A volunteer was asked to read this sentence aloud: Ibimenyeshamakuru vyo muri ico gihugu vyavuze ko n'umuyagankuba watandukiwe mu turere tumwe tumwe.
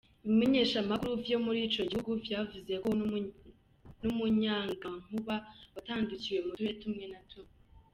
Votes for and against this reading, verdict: 1, 2, rejected